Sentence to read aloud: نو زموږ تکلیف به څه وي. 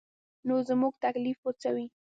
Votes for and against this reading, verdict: 2, 0, accepted